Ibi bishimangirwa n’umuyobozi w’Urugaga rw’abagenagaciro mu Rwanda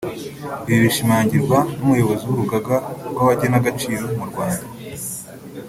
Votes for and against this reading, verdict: 1, 2, rejected